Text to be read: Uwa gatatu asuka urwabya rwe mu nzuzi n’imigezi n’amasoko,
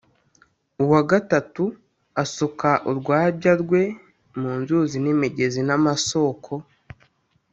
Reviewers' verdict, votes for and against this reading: accepted, 3, 0